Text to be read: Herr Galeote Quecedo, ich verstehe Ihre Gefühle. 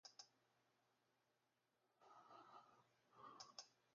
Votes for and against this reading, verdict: 0, 2, rejected